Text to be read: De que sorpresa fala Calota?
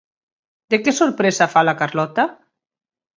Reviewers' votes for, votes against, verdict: 0, 4, rejected